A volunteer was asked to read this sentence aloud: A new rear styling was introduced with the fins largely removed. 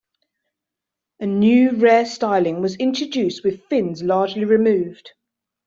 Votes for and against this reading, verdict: 1, 2, rejected